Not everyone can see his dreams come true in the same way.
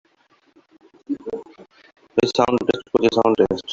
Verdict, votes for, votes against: rejected, 0, 3